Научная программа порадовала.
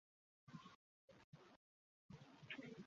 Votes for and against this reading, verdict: 0, 2, rejected